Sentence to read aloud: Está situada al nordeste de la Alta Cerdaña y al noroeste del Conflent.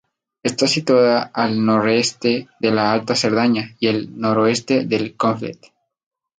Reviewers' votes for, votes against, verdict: 2, 2, rejected